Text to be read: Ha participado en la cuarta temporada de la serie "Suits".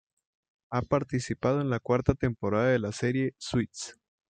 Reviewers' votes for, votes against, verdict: 2, 0, accepted